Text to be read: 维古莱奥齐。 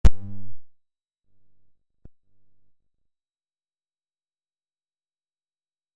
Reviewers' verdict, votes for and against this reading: rejected, 0, 2